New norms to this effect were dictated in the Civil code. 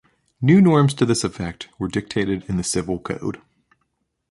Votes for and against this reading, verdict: 2, 0, accepted